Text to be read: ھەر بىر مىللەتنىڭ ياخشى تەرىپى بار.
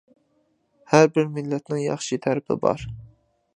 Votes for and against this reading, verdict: 2, 0, accepted